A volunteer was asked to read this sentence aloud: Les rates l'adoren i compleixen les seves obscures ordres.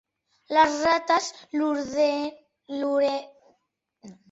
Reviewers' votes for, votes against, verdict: 0, 2, rejected